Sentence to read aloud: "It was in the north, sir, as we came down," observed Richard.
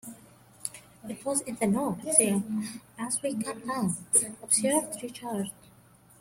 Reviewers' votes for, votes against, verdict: 0, 2, rejected